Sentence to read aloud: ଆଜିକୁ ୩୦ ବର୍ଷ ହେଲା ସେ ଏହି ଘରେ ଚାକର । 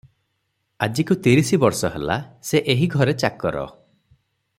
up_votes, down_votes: 0, 2